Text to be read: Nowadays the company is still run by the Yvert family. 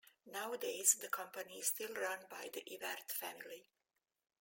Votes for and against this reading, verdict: 2, 0, accepted